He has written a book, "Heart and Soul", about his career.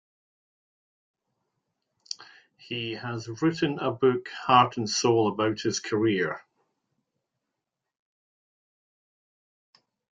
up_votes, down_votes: 2, 0